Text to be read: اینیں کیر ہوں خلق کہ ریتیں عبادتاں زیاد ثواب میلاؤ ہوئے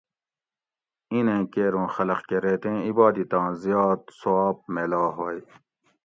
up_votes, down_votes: 2, 0